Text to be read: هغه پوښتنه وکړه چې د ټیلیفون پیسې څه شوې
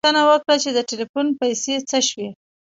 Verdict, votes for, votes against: rejected, 0, 2